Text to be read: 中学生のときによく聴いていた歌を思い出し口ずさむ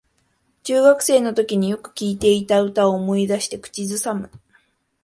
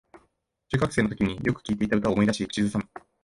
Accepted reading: second